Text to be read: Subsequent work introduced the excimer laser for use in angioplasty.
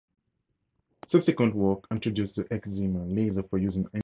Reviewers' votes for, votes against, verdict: 0, 4, rejected